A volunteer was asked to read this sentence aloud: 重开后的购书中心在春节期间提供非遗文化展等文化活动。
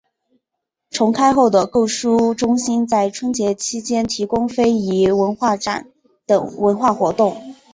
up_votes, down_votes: 3, 1